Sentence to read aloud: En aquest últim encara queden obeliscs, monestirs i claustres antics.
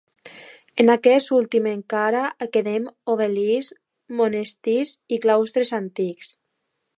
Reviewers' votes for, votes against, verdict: 2, 1, accepted